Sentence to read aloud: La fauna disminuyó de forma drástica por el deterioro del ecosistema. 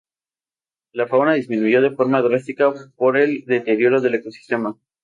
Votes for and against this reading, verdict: 0, 2, rejected